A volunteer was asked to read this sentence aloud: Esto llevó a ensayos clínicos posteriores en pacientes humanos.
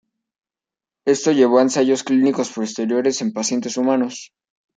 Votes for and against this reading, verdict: 2, 0, accepted